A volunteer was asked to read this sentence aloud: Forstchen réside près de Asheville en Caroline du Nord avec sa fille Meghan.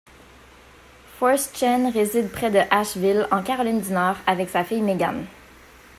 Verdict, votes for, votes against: rejected, 1, 2